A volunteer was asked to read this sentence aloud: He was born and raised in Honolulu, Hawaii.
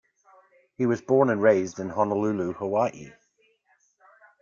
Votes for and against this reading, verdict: 0, 2, rejected